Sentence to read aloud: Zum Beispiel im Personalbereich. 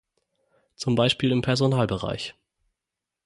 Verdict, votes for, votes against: accepted, 6, 0